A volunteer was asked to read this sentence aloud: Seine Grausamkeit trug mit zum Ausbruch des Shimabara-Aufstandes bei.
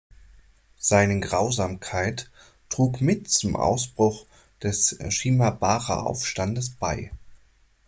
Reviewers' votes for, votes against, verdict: 2, 1, accepted